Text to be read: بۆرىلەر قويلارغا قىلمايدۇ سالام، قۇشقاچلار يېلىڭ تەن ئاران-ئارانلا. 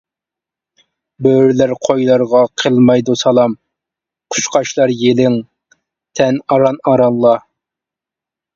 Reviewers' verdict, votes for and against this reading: accepted, 2, 0